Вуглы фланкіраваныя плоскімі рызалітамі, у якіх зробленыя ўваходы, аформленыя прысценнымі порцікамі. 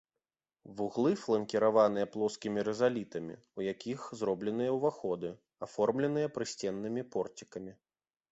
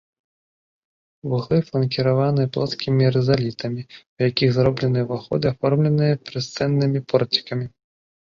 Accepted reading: first